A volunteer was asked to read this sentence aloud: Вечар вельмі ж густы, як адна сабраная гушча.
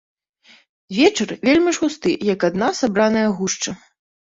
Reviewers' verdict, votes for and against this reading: accepted, 2, 0